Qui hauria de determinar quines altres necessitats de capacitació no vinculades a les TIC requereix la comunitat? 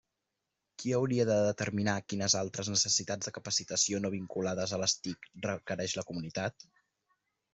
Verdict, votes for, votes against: accepted, 2, 0